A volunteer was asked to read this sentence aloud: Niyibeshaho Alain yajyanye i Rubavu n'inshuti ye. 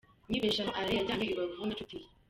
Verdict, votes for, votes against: rejected, 0, 2